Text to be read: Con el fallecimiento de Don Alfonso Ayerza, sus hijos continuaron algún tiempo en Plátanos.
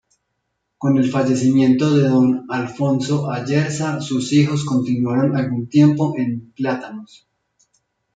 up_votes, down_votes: 1, 2